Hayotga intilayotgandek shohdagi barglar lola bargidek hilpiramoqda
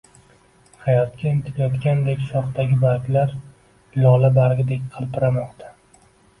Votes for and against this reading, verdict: 0, 2, rejected